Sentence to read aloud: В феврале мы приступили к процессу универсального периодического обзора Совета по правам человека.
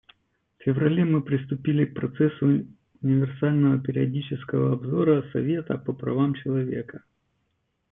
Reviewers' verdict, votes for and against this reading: rejected, 1, 2